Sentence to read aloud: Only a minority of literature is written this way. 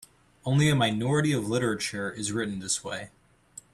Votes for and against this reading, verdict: 3, 0, accepted